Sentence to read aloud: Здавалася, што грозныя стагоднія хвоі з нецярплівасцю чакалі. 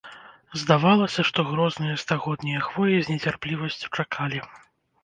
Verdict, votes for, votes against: accepted, 2, 0